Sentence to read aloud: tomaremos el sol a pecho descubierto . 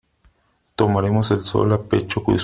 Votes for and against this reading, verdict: 1, 2, rejected